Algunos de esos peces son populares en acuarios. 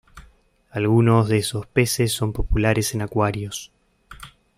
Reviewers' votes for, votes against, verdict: 2, 0, accepted